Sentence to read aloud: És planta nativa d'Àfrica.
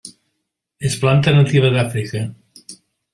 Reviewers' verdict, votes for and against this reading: accepted, 3, 0